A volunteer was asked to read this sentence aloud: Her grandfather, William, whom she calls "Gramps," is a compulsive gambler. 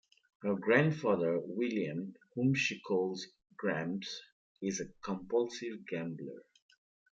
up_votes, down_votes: 2, 1